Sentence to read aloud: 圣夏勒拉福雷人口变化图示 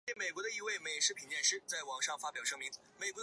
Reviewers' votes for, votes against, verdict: 1, 2, rejected